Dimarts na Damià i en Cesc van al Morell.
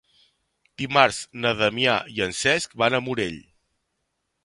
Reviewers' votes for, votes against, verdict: 0, 2, rejected